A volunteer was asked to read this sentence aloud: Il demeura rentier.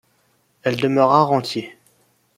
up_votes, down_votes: 0, 2